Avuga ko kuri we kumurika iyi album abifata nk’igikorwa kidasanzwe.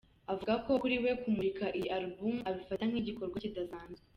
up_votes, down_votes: 1, 2